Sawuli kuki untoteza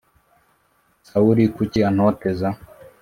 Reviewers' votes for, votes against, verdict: 1, 2, rejected